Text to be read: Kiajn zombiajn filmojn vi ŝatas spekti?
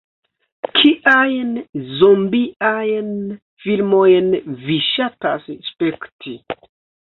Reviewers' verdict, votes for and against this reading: rejected, 0, 2